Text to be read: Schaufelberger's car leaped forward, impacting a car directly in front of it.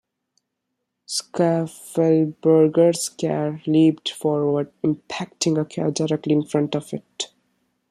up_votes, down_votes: 1, 2